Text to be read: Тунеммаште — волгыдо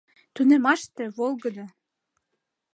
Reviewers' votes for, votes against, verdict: 2, 0, accepted